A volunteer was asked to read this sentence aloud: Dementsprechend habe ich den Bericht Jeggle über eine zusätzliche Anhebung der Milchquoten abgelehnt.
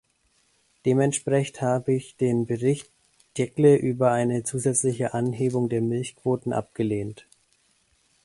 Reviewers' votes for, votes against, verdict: 0, 2, rejected